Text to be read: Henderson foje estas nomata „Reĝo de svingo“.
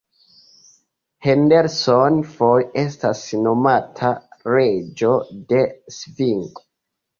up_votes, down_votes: 1, 2